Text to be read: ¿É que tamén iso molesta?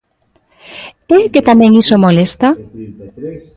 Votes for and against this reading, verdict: 0, 2, rejected